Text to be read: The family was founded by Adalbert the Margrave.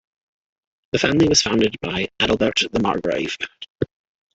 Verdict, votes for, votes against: rejected, 1, 2